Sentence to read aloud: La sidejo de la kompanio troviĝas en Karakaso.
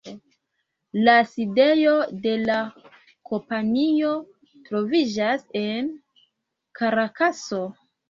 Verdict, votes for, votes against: accepted, 2, 0